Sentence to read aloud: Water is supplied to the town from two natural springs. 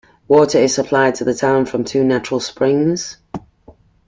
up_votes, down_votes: 2, 0